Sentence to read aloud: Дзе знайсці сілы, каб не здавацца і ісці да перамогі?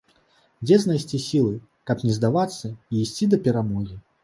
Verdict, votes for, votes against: accepted, 2, 1